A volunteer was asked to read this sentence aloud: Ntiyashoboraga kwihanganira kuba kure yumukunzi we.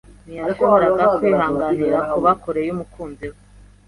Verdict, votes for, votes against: accepted, 2, 0